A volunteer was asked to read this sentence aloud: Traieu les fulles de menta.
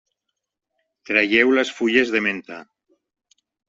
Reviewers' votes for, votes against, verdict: 3, 0, accepted